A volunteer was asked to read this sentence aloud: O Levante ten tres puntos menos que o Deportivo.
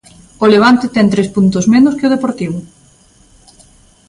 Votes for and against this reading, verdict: 2, 0, accepted